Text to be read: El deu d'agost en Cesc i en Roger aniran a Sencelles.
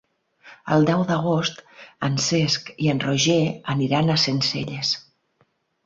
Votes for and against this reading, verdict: 6, 0, accepted